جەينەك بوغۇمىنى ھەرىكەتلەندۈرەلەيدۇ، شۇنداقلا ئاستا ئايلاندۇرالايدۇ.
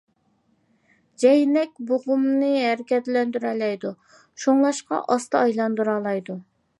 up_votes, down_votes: 1, 2